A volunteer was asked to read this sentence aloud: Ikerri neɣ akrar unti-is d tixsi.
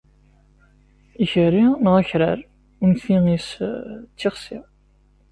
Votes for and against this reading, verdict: 2, 0, accepted